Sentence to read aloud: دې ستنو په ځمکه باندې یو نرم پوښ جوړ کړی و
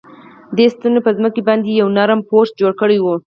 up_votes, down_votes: 4, 0